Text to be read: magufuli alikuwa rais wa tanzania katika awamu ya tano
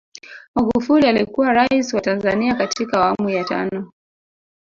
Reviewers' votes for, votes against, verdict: 0, 2, rejected